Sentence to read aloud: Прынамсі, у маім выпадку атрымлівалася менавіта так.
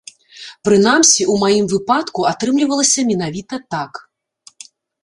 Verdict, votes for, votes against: accepted, 2, 0